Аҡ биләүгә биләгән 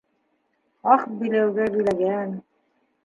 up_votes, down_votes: 2, 0